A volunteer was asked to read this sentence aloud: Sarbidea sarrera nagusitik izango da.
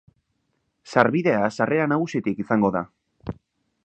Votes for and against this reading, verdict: 2, 0, accepted